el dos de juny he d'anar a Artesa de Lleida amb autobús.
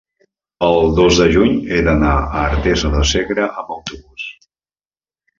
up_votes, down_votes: 0, 2